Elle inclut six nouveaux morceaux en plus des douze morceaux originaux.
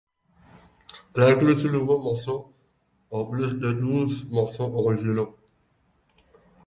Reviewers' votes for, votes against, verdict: 2, 4, rejected